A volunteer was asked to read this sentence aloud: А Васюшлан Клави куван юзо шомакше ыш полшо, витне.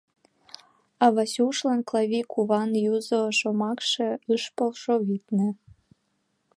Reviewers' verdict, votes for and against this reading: accepted, 2, 1